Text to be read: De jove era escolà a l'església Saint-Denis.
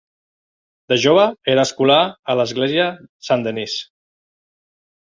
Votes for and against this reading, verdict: 2, 0, accepted